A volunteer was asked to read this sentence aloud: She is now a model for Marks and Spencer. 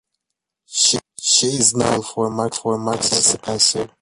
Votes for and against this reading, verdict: 0, 3, rejected